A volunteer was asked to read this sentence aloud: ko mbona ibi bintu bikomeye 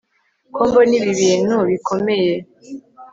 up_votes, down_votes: 2, 0